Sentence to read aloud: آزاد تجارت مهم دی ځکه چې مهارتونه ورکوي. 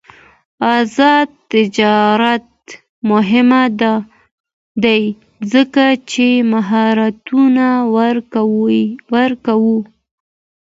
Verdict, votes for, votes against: accepted, 2, 1